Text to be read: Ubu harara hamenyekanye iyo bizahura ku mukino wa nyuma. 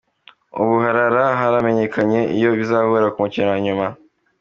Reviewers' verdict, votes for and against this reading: accepted, 2, 0